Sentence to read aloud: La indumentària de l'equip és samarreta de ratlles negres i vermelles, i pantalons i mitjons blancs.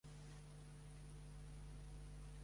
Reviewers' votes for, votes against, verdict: 0, 2, rejected